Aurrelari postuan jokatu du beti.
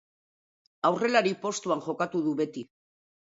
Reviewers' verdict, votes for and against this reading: accepted, 2, 0